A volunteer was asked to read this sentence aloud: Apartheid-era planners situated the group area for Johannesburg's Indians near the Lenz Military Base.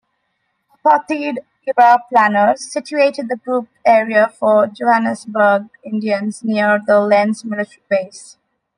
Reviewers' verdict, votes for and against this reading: rejected, 0, 2